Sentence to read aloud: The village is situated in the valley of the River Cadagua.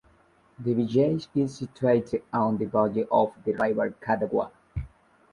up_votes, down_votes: 1, 2